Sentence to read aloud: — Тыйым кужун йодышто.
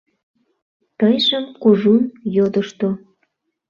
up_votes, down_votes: 0, 2